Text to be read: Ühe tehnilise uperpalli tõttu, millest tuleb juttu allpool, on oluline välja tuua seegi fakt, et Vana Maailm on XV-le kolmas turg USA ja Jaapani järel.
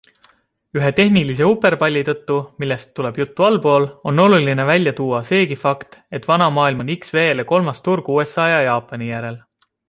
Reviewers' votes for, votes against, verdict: 2, 0, accepted